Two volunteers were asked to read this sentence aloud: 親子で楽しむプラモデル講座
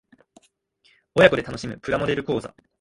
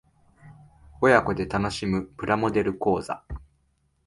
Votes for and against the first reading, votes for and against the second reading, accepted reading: 0, 2, 2, 0, second